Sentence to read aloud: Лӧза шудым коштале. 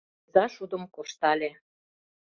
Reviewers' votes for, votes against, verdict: 1, 2, rejected